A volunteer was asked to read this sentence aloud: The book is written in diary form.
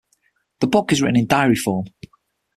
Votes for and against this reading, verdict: 6, 0, accepted